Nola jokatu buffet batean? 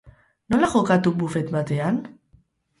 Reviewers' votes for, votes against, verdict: 4, 0, accepted